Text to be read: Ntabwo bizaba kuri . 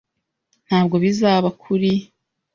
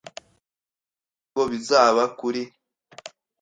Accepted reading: first